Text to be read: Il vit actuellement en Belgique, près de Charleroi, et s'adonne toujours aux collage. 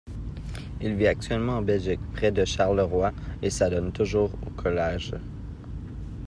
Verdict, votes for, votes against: accepted, 2, 0